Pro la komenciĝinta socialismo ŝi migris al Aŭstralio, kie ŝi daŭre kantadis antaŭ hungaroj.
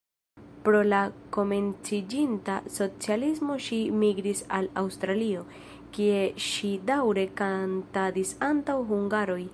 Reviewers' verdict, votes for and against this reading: accepted, 2, 1